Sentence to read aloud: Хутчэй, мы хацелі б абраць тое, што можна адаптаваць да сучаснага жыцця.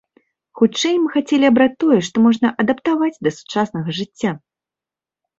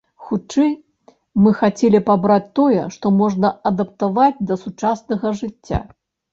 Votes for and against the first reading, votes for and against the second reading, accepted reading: 1, 2, 2, 0, second